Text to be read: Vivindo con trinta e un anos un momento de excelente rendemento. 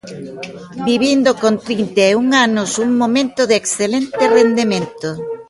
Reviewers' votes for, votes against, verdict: 2, 0, accepted